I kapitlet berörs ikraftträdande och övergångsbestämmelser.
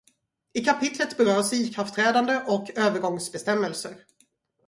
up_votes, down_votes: 2, 0